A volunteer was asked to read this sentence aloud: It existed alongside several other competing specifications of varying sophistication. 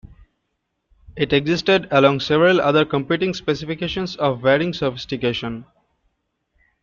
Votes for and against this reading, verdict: 0, 2, rejected